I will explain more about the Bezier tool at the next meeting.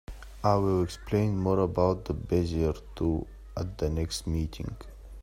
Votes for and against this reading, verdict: 2, 0, accepted